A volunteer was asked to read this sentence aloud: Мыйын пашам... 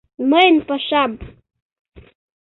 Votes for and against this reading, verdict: 2, 0, accepted